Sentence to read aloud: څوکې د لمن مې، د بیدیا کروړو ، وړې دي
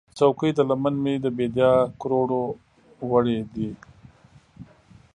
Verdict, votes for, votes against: rejected, 0, 2